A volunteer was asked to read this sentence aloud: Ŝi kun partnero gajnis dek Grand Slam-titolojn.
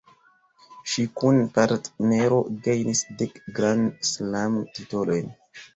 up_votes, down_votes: 2, 1